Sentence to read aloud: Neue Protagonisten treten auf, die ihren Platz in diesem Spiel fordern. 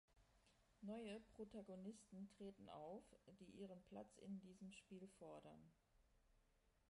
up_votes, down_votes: 1, 2